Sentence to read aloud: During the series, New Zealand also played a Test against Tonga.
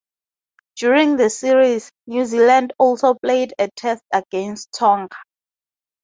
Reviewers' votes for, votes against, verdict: 2, 0, accepted